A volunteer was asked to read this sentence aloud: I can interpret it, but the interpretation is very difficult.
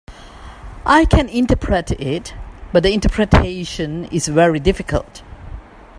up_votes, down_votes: 1, 2